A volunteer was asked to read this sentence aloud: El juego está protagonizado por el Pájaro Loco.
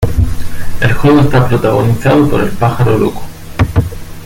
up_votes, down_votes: 0, 2